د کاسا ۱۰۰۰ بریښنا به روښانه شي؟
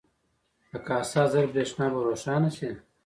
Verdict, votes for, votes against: rejected, 0, 2